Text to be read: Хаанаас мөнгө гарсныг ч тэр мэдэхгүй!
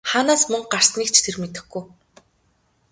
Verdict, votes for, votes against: accepted, 3, 0